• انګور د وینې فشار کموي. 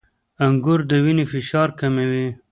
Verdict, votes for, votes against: rejected, 0, 2